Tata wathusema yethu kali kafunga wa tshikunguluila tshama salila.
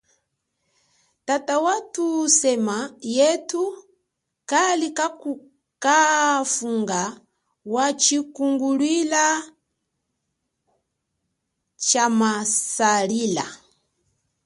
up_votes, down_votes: 2, 0